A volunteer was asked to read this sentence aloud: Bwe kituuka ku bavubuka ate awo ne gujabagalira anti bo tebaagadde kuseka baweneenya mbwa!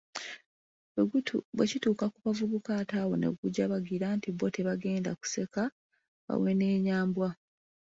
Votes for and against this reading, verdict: 1, 2, rejected